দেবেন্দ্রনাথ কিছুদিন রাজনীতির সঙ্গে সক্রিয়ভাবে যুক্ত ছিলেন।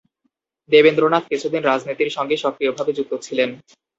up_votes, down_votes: 0, 2